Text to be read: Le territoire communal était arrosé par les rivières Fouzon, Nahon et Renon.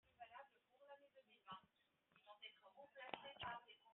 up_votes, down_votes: 0, 2